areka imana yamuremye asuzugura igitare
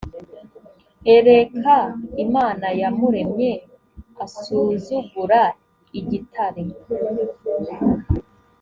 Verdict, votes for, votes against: rejected, 1, 2